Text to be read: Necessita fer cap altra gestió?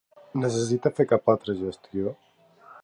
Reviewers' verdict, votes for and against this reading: rejected, 0, 2